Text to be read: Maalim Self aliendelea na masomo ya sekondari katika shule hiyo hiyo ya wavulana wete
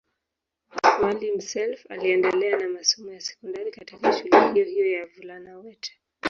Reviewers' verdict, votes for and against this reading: rejected, 0, 3